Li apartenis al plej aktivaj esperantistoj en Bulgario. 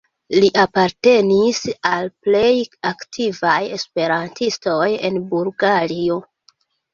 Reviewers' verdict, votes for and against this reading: rejected, 1, 2